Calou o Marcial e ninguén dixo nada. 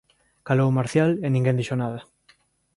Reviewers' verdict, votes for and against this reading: rejected, 1, 2